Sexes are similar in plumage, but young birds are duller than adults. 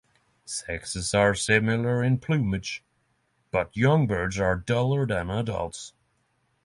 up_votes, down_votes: 3, 0